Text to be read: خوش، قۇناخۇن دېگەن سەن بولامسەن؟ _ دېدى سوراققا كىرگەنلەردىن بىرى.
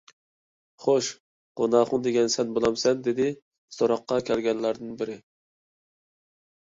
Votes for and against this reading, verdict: 0, 2, rejected